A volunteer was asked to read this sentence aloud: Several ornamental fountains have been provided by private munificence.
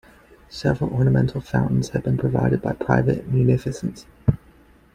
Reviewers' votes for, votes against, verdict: 2, 0, accepted